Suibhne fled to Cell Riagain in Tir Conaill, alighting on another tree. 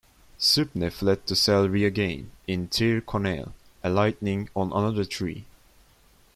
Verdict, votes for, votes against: accepted, 2, 0